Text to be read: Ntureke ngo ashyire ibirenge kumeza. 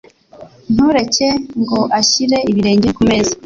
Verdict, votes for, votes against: accepted, 2, 0